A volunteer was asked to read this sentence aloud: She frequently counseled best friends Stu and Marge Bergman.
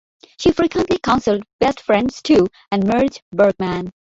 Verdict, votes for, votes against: rejected, 0, 2